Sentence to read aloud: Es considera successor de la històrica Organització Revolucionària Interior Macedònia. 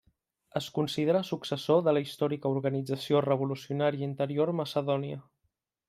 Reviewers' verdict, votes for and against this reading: accepted, 3, 0